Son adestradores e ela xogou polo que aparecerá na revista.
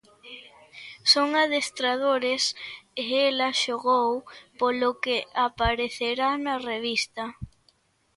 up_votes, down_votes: 2, 0